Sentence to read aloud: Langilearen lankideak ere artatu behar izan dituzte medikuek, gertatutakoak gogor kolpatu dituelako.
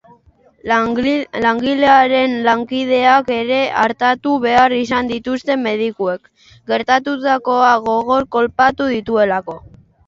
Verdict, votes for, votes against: rejected, 0, 2